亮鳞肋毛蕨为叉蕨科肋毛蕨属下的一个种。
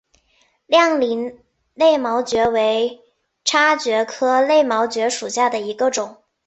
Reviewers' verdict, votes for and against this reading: accepted, 3, 2